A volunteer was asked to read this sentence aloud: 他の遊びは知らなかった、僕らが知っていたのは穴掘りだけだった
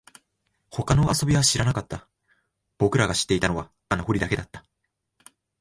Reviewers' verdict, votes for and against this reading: accepted, 2, 0